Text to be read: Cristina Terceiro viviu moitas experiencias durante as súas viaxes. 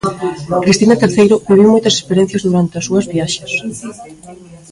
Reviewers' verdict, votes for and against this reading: rejected, 0, 2